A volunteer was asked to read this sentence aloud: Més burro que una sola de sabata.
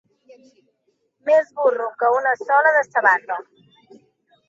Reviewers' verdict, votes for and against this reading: rejected, 1, 2